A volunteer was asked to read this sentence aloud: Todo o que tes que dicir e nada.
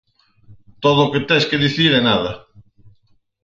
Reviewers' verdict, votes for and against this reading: accepted, 6, 0